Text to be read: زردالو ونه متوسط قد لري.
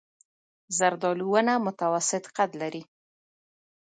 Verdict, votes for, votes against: accepted, 2, 1